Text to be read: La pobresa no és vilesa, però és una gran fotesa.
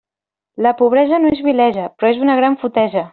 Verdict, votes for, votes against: accepted, 2, 0